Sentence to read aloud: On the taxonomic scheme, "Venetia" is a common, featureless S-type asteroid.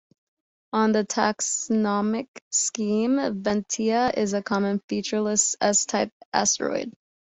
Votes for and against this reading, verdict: 0, 2, rejected